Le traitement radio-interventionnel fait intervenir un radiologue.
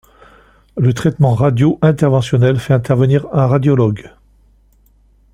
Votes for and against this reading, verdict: 2, 0, accepted